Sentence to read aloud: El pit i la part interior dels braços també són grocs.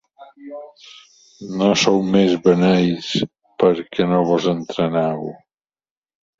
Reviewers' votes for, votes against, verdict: 0, 2, rejected